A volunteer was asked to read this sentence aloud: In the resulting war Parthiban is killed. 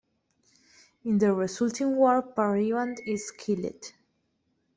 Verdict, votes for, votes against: rejected, 1, 2